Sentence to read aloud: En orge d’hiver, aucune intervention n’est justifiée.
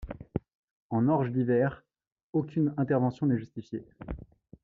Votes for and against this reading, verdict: 2, 0, accepted